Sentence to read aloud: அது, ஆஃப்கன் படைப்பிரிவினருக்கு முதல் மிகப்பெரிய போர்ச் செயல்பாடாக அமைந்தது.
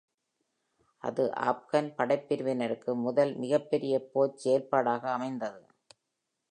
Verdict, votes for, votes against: accepted, 2, 0